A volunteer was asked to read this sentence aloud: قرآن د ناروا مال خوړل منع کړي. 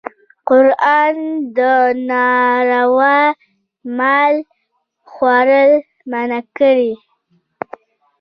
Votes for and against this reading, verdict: 0, 2, rejected